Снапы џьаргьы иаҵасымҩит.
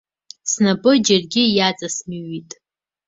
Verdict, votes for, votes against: accepted, 2, 0